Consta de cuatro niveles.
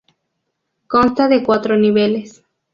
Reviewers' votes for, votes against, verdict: 2, 0, accepted